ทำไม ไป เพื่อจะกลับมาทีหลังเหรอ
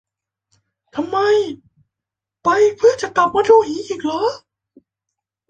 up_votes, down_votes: 0, 2